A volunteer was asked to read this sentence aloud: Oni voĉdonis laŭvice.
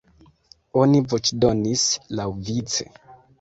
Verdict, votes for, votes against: rejected, 1, 2